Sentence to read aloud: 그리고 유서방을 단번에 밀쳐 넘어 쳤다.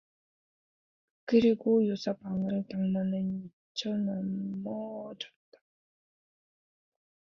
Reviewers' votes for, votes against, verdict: 0, 2, rejected